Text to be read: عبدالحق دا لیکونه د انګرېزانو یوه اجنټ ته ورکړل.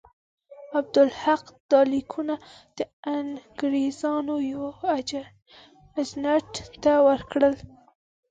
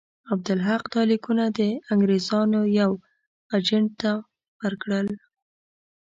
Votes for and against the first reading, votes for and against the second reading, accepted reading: 1, 2, 2, 0, second